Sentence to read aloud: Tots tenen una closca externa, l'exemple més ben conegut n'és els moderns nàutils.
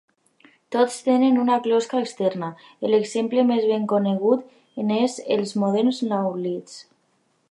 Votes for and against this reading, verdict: 1, 2, rejected